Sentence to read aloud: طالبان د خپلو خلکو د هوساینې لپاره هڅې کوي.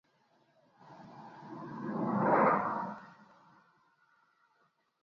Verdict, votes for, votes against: rejected, 0, 2